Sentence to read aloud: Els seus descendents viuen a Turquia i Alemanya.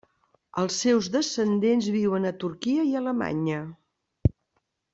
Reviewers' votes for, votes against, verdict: 3, 0, accepted